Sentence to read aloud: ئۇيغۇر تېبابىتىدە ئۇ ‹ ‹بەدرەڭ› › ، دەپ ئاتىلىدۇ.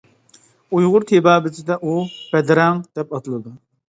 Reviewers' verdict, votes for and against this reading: accepted, 2, 1